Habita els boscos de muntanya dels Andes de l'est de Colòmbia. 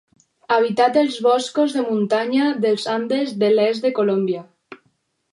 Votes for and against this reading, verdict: 0, 4, rejected